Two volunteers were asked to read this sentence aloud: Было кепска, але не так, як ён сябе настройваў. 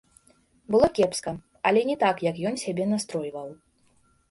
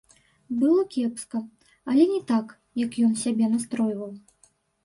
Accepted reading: first